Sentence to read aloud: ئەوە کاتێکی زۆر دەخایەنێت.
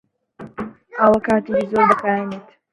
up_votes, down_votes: 0, 2